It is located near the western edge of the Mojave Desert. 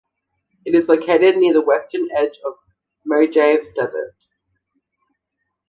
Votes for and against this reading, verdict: 0, 2, rejected